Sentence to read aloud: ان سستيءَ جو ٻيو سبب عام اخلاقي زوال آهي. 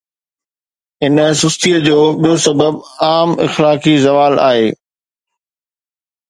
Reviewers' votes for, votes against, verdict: 2, 0, accepted